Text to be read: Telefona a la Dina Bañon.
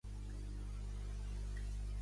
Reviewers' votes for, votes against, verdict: 0, 2, rejected